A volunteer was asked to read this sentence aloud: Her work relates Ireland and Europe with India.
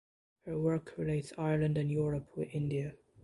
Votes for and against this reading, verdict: 2, 0, accepted